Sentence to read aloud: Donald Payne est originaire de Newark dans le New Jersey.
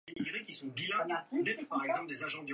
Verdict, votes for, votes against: rejected, 0, 2